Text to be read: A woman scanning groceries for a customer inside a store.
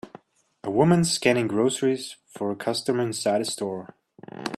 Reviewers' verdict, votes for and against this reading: accepted, 2, 0